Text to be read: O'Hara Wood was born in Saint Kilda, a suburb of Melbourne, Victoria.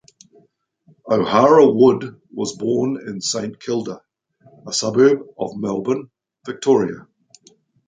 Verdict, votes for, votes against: accepted, 2, 0